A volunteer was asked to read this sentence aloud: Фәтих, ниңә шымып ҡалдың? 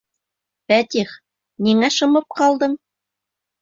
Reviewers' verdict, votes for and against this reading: accepted, 2, 0